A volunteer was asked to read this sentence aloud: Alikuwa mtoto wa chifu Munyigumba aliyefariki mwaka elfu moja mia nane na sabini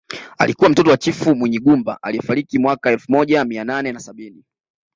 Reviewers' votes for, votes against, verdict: 2, 0, accepted